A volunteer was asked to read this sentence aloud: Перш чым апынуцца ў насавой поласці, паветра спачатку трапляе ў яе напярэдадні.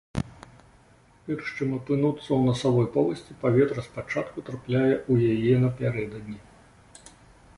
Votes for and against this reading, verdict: 1, 2, rejected